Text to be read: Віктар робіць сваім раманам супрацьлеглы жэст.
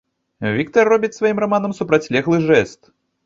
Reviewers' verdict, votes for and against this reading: accepted, 2, 0